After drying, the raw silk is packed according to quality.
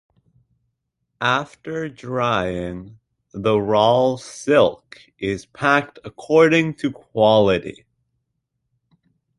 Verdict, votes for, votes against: accepted, 2, 0